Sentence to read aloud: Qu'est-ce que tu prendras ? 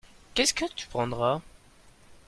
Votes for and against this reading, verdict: 2, 0, accepted